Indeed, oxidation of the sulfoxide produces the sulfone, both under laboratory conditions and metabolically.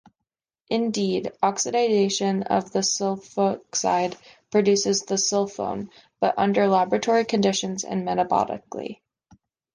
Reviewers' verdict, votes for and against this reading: accepted, 2, 1